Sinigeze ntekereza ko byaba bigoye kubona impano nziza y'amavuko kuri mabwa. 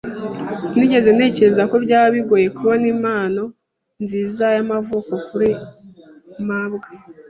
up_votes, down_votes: 2, 0